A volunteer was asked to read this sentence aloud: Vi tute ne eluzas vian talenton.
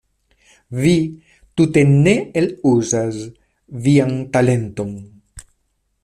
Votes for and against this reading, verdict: 2, 0, accepted